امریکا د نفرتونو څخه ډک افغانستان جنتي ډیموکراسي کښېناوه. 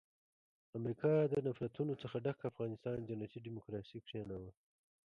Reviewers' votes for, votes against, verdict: 2, 1, accepted